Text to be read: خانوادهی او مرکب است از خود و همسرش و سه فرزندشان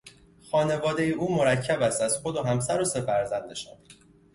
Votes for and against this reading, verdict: 0, 2, rejected